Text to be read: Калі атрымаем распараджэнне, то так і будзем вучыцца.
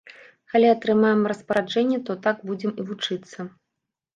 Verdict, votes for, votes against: rejected, 0, 2